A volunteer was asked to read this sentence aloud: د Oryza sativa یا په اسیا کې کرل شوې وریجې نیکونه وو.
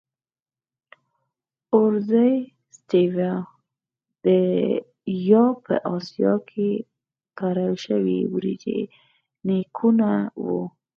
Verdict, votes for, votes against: accepted, 4, 2